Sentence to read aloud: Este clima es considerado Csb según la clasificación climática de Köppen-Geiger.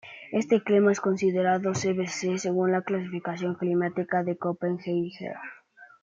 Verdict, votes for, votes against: rejected, 1, 2